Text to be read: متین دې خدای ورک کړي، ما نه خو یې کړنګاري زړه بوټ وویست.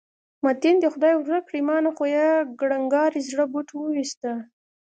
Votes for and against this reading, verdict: 2, 0, accepted